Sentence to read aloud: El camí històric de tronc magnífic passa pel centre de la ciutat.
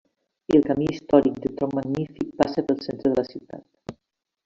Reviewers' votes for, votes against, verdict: 1, 2, rejected